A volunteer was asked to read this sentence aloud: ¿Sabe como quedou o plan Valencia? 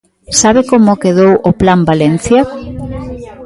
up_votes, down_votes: 1, 2